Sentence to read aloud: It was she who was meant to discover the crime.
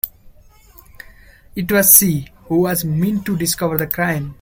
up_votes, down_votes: 1, 2